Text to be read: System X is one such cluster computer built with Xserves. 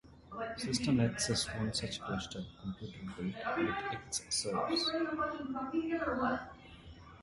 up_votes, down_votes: 0, 2